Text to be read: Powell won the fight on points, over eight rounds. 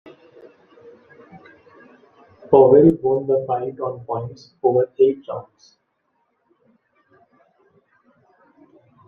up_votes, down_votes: 2, 0